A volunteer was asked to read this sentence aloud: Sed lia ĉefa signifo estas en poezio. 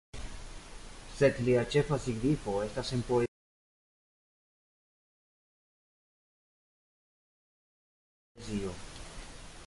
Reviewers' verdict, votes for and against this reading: rejected, 1, 2